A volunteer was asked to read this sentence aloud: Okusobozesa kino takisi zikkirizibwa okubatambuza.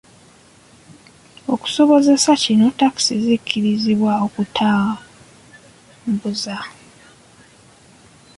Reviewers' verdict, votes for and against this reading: rejected, 0, 2